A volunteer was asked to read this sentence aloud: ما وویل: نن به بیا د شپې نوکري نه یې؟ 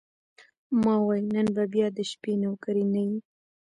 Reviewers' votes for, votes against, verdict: 0, 2, rejected